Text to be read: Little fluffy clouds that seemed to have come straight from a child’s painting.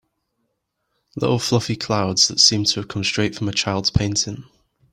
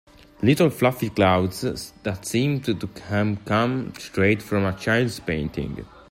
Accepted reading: first